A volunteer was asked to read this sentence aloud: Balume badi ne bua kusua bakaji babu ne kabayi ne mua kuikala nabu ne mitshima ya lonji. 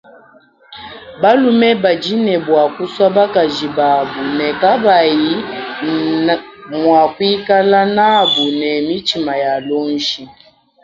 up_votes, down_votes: 1, 3